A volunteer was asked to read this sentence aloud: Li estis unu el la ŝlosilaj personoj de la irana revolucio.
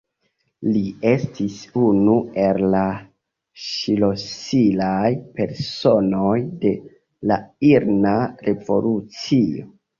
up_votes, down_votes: 1, 2